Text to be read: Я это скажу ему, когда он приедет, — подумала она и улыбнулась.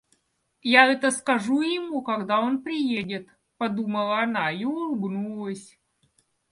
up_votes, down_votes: 2, 0